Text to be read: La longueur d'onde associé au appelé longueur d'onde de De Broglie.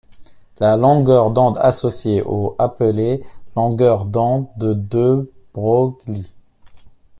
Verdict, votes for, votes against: rejected, 1, 2